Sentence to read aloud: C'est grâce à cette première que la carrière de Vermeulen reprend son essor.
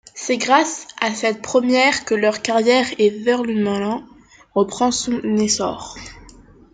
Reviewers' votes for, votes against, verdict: 0, 2, rejected